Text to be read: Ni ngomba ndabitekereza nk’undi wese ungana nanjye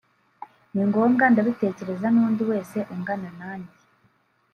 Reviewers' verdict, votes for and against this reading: rejected, 0, 2